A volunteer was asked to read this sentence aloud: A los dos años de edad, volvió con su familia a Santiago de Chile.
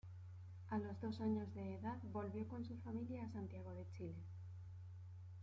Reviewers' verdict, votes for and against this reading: accepted, 2, 0